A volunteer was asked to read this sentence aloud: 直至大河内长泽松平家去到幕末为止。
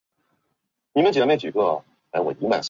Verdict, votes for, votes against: rejected, 0, 2